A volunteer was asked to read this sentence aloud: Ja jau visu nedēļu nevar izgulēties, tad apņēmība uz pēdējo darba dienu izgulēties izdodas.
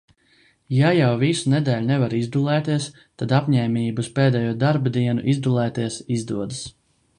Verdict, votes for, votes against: rejected, 1, 2